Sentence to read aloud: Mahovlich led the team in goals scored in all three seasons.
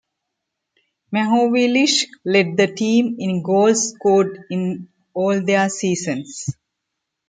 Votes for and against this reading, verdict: 1, 2, rejected